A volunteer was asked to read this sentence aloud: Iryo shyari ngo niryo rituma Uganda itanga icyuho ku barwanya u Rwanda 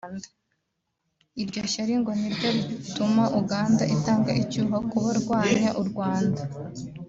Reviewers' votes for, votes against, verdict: 2, 0, accepted